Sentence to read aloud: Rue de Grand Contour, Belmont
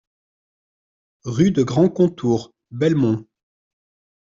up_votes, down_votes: 2, 0